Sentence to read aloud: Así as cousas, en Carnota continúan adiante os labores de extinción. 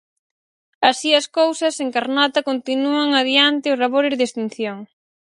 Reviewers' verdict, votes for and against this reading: accepted, 4, 0